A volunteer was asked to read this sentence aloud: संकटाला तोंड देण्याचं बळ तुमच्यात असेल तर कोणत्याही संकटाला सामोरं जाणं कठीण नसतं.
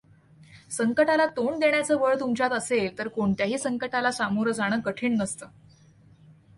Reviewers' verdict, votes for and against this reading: accepted, 2, 0